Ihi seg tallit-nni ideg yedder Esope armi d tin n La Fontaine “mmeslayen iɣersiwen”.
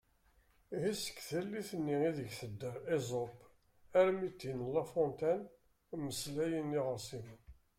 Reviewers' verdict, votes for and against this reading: rejected, 0, 2